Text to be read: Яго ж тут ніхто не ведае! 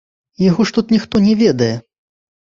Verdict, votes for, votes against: accepted, 2, 0